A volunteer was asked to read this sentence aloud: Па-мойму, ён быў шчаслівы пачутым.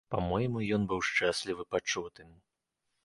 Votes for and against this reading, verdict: 1, 2, rejected